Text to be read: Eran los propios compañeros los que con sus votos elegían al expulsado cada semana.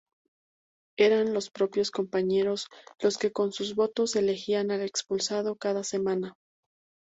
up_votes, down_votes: 2, 0